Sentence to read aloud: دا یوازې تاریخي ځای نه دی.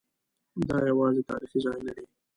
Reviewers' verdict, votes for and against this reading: rejected, 0, 2